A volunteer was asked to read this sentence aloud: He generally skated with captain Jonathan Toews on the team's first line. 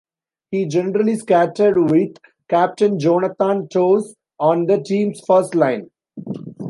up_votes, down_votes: 0, 2